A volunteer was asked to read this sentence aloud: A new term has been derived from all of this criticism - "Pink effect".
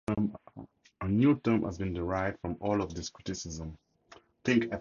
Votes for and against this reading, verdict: 0, 2, rejected